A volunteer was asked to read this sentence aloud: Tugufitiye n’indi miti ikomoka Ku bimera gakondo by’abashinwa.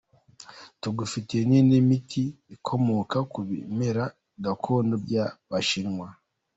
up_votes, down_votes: 2, 0